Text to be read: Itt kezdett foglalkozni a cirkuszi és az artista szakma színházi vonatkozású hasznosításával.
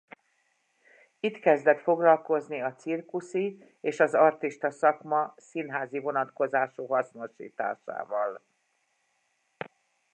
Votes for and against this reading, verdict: 2, 0, accepted